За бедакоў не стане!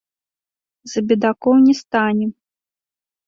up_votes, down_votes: 2, 0